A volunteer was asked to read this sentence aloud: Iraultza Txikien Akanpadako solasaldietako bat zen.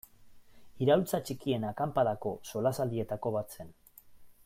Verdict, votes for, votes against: accepted, 2, 0